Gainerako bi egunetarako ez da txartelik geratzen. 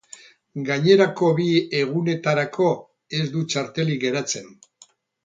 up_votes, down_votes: 0, 2